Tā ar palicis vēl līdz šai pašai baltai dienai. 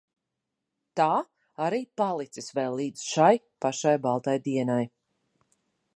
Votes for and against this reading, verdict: 1, 2, rejected